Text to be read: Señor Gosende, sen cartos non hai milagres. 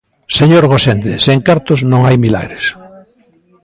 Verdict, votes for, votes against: rejected, 1, 2